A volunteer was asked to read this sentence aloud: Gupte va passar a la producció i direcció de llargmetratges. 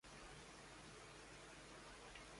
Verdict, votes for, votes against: rejected, 0, 2